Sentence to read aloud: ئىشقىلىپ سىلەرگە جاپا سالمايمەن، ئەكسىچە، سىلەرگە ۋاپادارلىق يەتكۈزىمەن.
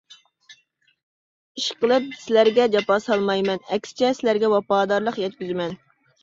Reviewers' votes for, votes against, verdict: 2, 0, accepted